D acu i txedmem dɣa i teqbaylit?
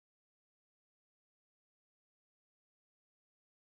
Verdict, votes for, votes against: rejected, 0, 2